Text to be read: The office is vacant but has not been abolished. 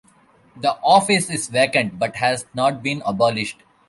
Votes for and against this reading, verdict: 2, 0, accepted